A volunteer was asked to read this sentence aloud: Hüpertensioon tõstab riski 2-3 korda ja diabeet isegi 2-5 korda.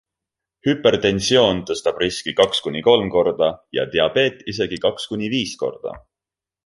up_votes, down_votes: 0, 2